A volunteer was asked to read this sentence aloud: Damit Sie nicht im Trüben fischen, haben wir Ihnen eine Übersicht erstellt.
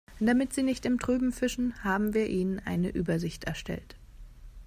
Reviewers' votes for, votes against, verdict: 2, 0, accepted